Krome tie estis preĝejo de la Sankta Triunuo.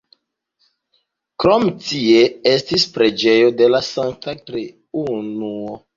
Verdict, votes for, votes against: rejected, 1, 2